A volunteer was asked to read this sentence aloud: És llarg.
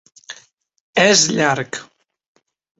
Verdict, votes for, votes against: accepted, 4, 0